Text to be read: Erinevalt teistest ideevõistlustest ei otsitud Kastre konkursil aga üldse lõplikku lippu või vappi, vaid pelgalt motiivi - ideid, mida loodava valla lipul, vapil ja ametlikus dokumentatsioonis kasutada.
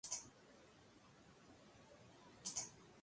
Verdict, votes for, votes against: rejected, 0, 2